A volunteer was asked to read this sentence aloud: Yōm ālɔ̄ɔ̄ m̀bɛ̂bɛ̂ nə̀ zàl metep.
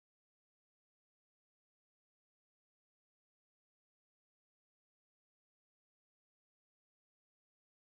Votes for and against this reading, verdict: 1, 2, rejected